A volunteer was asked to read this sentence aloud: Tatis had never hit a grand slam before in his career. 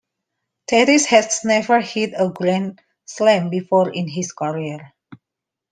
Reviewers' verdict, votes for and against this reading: rejected, 1, 2